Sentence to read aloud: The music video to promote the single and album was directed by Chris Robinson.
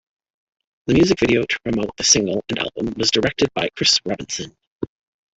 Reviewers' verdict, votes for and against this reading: rejected, 1, 2